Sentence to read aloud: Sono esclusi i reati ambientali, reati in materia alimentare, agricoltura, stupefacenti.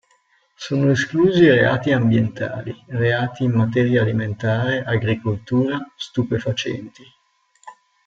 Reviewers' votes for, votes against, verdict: 1, 2, rejected